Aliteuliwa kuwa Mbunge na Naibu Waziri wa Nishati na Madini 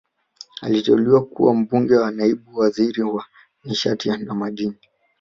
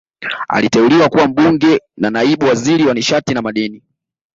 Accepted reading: second